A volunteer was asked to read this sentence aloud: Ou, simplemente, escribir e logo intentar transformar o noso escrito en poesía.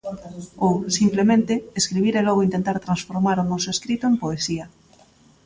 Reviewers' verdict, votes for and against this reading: rejected, 1, 2